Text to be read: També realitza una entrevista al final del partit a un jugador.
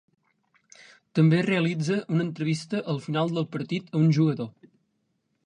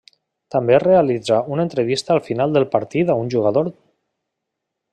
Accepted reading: first